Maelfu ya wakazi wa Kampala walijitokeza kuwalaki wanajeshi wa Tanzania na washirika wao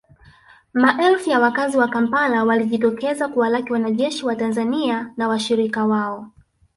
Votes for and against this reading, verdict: 0, 2, rejected